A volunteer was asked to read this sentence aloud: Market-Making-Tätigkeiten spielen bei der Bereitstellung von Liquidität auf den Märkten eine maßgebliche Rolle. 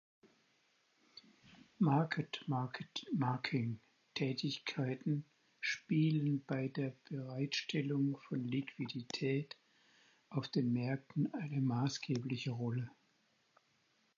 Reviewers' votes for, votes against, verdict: 0, 4, rejected